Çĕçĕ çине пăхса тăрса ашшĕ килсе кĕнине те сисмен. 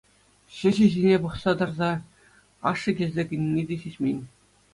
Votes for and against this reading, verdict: 2, 0, accepted